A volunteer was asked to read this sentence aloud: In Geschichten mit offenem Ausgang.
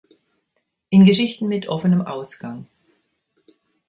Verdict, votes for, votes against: accepted, 2, 0